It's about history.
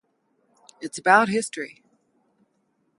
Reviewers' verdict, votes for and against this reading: rejected, 0, 2